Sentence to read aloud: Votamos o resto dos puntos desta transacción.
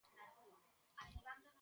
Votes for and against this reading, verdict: 0, 2, rejected